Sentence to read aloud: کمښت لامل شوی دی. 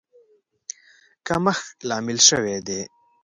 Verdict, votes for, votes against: accepted, 2, 0